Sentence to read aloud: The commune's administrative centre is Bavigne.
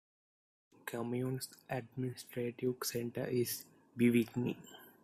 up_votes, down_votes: 0, 2